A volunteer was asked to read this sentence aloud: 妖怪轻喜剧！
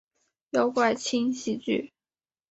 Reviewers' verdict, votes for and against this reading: accepted, 3, 1